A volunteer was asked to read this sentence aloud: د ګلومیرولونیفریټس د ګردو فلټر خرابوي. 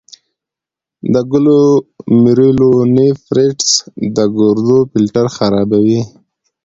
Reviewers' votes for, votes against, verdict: 2, 0, accepted